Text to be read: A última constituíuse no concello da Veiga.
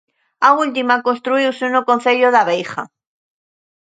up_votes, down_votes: 1, 2